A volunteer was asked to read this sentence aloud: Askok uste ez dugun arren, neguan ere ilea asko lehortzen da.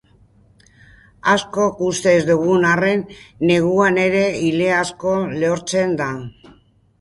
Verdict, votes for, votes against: rejected, 2, 2